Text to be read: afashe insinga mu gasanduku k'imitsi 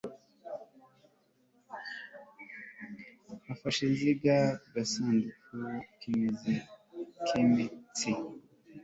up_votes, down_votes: 2, 0